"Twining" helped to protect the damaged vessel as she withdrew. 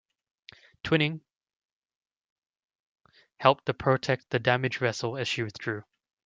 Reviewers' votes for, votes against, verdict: 2, 0, accepted